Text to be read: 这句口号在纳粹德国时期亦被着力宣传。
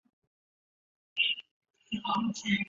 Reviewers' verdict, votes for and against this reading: rejected, 0, 2